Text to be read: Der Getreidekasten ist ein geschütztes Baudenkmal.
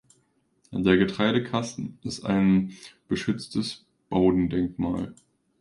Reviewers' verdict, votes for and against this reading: rejected, 0, 2